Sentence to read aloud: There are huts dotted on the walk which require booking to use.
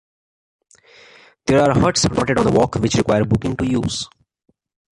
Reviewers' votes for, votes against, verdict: 0, 2, rejected